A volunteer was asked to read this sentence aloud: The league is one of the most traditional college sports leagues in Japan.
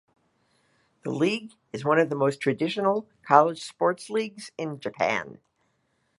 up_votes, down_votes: 2, 0